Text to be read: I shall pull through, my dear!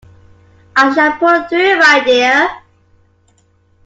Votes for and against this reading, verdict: 2, 0, accepted